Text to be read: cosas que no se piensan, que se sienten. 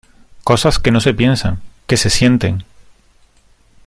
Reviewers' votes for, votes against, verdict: 2, 0, accepted